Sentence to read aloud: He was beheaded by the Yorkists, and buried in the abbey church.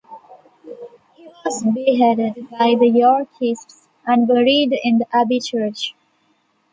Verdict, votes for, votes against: rejected, 1, 2